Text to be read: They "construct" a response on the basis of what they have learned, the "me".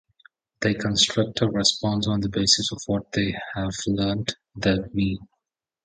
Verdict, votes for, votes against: accepted, 2, 0